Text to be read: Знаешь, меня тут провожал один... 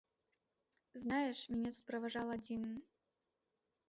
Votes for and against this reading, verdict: 0, 2, rejected